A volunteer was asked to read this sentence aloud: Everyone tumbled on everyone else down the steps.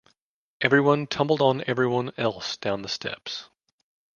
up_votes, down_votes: 2, 0